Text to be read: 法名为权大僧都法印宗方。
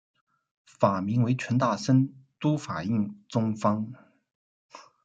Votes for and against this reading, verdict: 0, 2, rejected